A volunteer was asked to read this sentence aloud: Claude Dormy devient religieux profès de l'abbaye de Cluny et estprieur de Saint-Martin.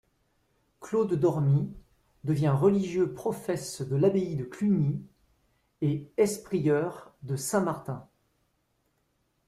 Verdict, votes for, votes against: accepted, 2, 0